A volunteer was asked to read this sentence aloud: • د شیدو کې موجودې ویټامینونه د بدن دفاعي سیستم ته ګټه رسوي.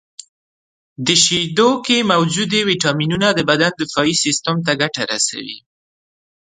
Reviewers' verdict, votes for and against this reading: accepted, 2, 1